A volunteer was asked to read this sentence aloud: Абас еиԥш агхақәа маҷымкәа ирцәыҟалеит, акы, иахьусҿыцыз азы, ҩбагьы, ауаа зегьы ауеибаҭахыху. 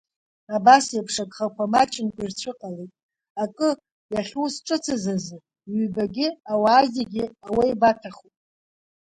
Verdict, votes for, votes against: accepted, 2, 1